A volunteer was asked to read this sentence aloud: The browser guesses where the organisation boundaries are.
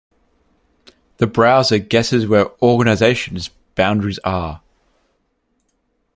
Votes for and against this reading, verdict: 0, 2, rejected